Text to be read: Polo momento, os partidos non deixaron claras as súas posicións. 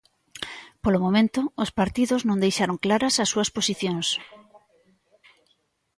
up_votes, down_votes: 1, 2